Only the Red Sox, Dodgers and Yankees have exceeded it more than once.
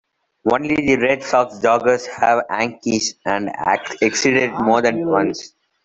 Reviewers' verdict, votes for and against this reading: rejected, 0, 2